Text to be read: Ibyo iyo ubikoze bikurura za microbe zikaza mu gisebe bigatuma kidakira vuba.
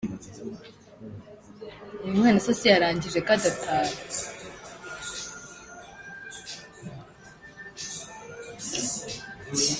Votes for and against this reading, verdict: 0, 4, rejected